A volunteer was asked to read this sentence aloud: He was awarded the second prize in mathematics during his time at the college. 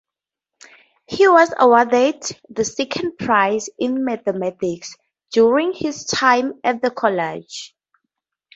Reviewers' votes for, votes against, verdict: 4, 0, accepted